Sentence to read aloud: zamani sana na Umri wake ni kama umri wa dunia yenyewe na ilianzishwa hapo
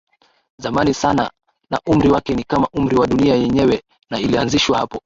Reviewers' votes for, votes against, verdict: 0, 2, rejected